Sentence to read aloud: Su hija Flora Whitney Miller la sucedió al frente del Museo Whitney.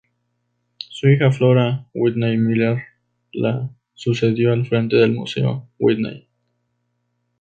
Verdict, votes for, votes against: rejected, 0, 2